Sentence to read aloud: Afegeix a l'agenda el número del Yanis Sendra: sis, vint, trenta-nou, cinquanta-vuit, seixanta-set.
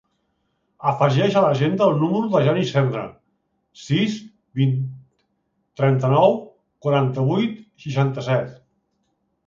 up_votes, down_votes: 0, 2